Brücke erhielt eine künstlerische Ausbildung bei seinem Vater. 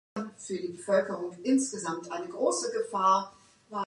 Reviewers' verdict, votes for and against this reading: rejected, 0, 2